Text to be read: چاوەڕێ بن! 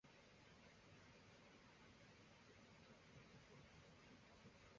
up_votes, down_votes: 1, 2